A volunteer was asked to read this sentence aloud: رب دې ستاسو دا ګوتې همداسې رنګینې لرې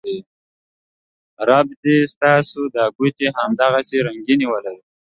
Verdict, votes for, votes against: rejected, 1, 2